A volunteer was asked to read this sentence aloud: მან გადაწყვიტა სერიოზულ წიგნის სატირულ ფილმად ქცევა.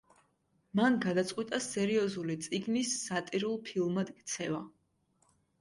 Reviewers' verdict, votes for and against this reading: accepted, 2, 1